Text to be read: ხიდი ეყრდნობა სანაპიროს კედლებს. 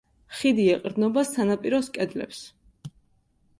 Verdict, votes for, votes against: accepted, 2, 0